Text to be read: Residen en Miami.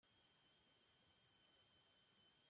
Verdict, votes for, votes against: rejected, 0, 2